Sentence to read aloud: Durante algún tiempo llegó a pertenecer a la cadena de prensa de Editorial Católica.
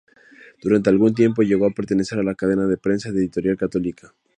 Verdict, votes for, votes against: accepted, 2, 0